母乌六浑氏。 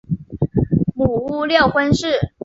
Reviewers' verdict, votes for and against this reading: accepted, 2, 0